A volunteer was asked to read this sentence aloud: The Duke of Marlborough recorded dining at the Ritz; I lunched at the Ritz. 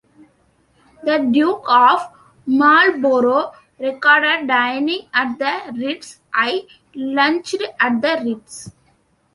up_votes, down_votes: 2, 0